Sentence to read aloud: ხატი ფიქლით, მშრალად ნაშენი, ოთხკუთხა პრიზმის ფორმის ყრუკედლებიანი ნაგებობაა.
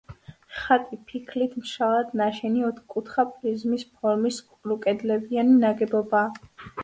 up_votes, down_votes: 3, 0